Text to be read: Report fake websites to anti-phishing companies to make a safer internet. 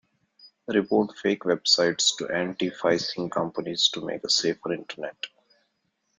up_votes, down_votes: 0, 2